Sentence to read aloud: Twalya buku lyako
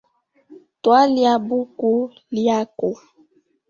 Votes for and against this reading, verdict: 0, 2, rejected